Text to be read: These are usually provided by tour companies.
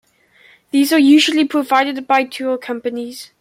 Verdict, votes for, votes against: accepted, 2, 0